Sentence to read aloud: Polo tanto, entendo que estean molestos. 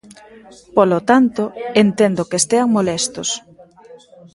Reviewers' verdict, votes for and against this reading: accepted, 2, 1